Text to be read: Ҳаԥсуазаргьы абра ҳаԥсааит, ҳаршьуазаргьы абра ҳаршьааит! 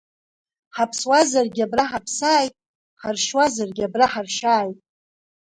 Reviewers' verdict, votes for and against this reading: accepted, 2, 1